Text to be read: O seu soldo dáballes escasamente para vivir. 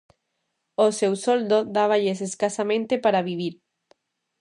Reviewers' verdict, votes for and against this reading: accepted, 2, 0